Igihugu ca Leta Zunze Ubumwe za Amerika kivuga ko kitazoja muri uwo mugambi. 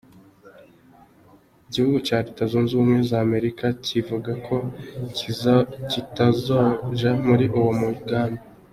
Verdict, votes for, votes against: rejected, 0, 2